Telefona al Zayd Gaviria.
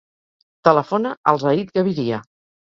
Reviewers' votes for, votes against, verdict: 2, 2, rejected